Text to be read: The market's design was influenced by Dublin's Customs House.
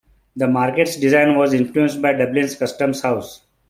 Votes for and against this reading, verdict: 2, 1, accepted